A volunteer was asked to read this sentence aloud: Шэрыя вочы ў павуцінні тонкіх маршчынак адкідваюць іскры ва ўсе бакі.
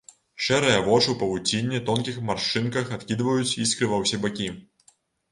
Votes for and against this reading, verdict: 0, 2, rejected